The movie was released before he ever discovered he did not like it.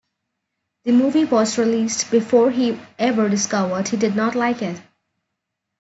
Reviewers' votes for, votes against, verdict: 1, 2, rejected